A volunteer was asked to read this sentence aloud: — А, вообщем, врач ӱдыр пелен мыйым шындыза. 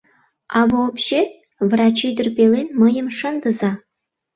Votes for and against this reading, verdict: 1, 2, rejected